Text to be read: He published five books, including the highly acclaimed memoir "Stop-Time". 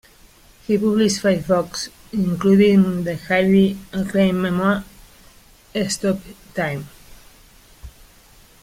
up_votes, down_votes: 0, 2